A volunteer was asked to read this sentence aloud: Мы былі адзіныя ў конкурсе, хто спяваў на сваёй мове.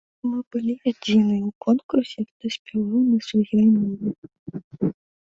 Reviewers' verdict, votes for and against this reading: rejected, 1, 2